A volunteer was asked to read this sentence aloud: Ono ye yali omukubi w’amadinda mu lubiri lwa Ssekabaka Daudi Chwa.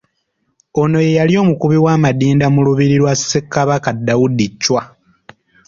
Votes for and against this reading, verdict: 2, 0, accepted